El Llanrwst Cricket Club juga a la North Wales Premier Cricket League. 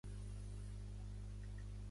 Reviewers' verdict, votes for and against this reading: rejected, 1, 2